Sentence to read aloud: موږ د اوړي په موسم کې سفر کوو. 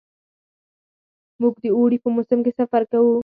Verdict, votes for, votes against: accepted, 4, 0